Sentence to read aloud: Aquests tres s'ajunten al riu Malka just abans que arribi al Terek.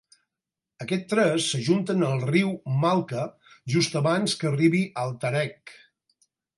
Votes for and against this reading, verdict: 4, 0, accepted